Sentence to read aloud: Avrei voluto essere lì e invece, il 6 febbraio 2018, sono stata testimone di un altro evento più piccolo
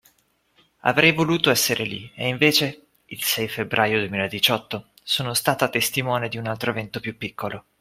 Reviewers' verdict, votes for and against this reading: rejected, 0, 2